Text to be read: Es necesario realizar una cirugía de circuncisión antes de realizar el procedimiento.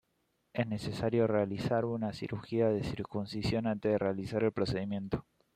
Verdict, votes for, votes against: accepted, 2, 0